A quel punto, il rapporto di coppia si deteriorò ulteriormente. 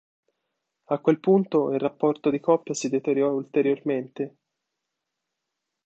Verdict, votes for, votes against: rejected, 1, 2